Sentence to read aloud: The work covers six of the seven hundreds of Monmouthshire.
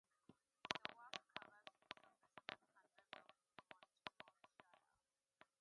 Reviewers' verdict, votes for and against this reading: rejected, 0, 2